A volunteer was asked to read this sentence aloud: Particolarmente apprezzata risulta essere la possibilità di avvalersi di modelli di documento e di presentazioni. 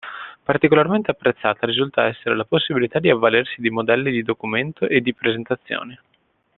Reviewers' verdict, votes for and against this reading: accepted, 2, 0